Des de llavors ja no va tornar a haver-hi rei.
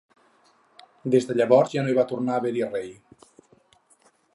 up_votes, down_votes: 2, 4